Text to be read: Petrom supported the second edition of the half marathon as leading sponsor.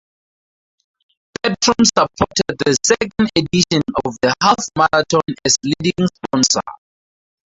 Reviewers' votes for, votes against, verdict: 4, 0, accepted